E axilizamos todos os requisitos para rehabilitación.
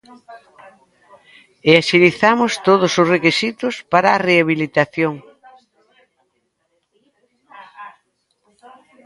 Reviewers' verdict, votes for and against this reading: rejected, 1, 2